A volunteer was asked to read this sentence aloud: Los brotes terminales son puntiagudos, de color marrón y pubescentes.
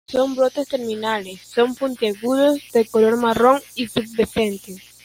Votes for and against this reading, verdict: 0, 2, rejected